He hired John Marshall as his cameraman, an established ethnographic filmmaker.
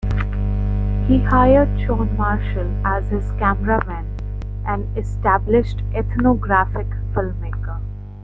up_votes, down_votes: 2, 0